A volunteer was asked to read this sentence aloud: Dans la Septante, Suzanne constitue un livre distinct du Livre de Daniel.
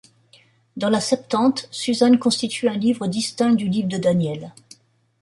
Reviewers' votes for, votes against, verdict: 2, 0, accepted